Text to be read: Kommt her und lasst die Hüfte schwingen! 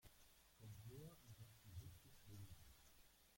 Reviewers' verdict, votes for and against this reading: rejected, 0, 2